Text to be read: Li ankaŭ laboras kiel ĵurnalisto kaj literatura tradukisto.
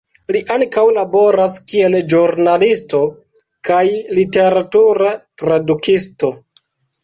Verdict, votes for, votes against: rejected, 0, 2